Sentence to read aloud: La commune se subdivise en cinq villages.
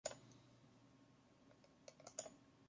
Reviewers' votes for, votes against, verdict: 0, 2, rejected